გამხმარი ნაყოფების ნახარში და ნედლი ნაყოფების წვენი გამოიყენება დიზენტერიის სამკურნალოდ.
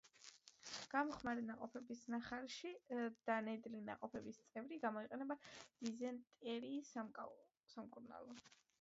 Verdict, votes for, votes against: rejected, 1, 2